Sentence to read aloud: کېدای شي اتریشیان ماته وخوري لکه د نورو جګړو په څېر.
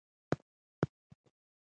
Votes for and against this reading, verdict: 1, 2, rejected